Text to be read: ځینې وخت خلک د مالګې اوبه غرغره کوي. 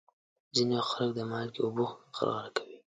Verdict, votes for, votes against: accepted, 2, 1